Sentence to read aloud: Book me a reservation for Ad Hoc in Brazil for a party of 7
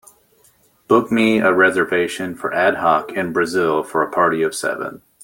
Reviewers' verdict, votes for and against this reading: rejected, 0, 2